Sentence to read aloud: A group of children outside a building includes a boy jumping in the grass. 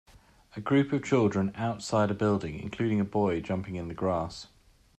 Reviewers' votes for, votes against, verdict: 0, 2, rejected